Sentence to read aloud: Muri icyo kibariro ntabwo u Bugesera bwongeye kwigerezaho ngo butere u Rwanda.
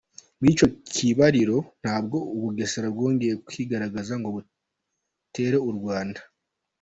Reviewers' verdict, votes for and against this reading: accepted, 3, 0